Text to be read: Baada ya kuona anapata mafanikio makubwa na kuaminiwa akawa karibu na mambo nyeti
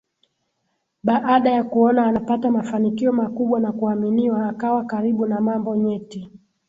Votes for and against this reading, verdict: 2, 0, accepted